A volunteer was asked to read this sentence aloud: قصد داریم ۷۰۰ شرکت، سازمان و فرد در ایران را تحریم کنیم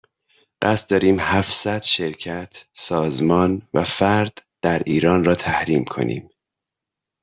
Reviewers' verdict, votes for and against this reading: rejected, 0, 2